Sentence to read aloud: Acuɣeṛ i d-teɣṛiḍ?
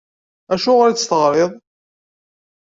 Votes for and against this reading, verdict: 0, 2, rejected